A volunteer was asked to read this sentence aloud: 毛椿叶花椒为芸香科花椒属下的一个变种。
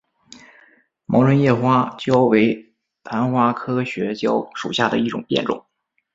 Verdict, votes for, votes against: rejected, 0, 2